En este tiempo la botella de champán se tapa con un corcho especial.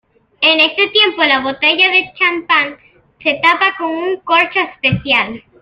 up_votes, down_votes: 2, 0